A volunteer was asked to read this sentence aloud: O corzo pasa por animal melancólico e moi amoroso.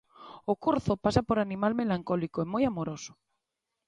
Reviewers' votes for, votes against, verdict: 2, 0, accepted